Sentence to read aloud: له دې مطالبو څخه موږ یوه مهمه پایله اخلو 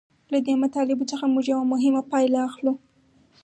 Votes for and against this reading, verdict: 2, 2, rejected